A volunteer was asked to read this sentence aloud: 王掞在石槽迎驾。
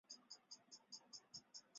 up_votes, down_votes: 0, 4